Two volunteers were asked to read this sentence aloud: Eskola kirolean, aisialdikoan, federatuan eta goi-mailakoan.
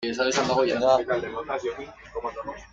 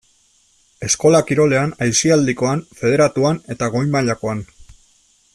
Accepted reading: second